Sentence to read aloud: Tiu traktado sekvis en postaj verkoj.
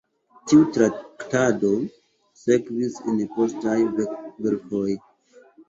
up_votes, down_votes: 0, 3